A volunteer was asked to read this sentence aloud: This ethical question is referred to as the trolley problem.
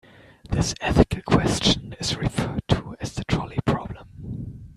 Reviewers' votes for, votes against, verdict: 1, 2, rejected